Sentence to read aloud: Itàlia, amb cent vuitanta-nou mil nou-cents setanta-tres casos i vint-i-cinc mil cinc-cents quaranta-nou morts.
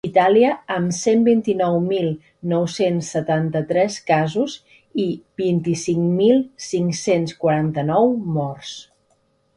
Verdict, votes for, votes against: rejected, 0, 2